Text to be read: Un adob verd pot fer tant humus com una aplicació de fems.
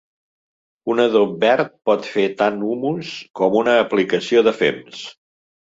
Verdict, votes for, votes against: accepted, 2, 0